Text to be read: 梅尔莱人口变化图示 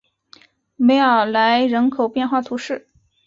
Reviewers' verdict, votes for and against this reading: accepted, 3, 0